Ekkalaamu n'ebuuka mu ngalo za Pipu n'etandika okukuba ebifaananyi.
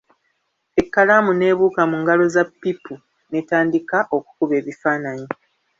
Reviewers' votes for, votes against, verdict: 1, 2, rejected